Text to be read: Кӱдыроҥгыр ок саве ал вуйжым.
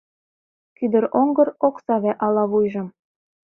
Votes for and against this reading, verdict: 0, 2, rejected